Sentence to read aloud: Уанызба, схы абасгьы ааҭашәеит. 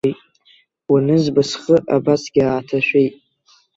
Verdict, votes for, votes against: accepted, 2, 0